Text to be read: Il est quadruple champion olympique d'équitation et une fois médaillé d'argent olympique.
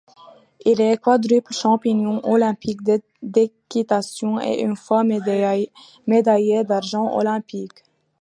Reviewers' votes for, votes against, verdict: 0, 2, rejected